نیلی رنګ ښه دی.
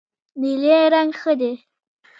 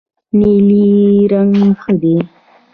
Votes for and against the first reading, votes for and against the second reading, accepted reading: 0, 2, 2, 0, second